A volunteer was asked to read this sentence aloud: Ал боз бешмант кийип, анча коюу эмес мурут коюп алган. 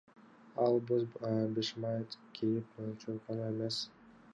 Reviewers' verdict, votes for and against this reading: accepted, 2, 1